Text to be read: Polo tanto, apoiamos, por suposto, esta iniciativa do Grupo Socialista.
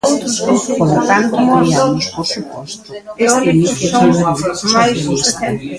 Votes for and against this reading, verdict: 0, 2, rejected